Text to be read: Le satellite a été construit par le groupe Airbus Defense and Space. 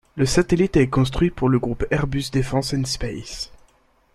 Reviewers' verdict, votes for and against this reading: rejected, 0, 2